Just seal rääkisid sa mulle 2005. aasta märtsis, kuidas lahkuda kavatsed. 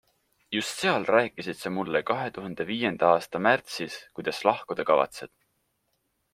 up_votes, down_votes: 0, 2